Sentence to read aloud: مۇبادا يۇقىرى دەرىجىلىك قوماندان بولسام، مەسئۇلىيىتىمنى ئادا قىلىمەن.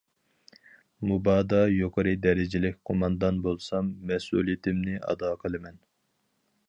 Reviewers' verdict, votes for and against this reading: accepted, 4, 0